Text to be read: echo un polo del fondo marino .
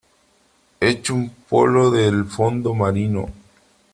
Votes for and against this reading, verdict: 3, 1, accepted